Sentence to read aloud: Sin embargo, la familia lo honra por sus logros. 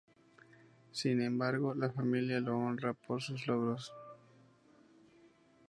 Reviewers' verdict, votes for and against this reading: accepted, 2, 0